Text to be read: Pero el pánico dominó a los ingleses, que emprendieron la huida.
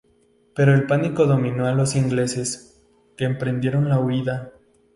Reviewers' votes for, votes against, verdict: 2, 0, accepted